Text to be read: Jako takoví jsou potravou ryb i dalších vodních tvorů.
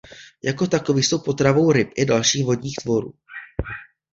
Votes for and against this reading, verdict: 2, 0, accepted